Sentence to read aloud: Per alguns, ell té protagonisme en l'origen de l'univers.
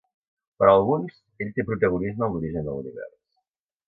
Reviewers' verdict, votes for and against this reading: accepted, 2, 0